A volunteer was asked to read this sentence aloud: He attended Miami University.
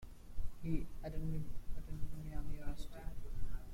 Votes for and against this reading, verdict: 2, 0, accepted